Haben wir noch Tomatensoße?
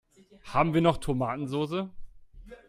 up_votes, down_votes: 2, 0